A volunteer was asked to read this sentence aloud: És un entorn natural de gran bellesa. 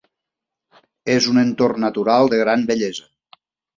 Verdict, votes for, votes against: accepted, 3, 0